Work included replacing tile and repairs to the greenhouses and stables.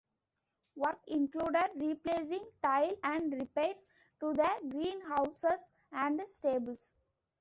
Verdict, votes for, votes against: accepted, 2, 1